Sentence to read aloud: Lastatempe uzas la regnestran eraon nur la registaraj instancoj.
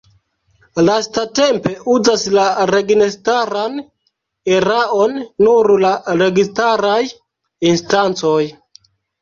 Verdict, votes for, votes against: rejected, 1, 2